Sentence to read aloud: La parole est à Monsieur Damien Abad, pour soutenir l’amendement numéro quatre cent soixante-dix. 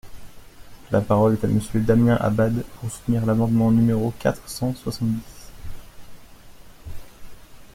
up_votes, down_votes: 1, 2